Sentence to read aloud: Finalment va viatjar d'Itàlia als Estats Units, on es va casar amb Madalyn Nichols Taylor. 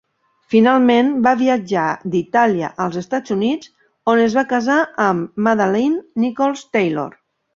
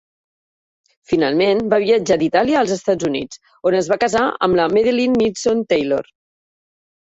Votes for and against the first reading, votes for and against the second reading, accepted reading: 2, 0, 1, 2, first